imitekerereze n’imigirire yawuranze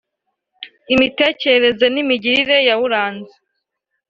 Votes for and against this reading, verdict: 2, 0, accepted